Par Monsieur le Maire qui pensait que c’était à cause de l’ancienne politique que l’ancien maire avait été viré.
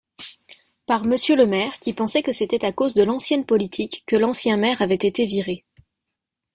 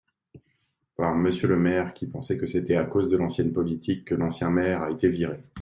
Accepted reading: first